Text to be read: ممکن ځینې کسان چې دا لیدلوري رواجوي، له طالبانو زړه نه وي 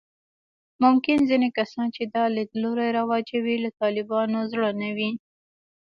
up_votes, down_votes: 1, 2